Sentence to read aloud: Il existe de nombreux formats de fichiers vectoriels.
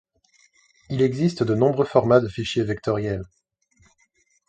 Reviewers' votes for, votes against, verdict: 2, 0, accepted